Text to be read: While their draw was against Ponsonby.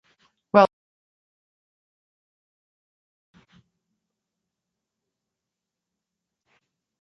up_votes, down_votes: 0, 3